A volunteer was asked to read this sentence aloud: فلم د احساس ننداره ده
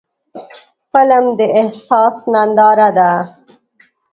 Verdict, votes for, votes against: rejected, 0, 2